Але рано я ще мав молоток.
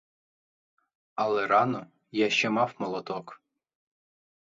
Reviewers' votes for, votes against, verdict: 4, 0, accepted